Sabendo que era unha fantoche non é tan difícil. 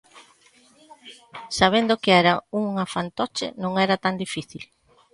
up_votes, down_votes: 0, 2